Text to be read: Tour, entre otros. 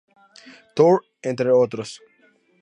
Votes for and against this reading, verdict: 2, 0, accepted